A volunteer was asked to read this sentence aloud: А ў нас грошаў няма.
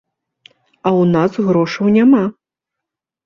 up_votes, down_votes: 2, 0